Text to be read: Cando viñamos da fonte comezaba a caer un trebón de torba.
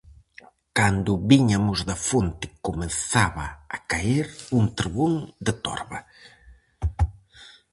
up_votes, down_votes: 0, 4